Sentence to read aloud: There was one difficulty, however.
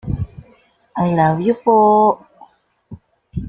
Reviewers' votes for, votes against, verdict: 0, 2, rejected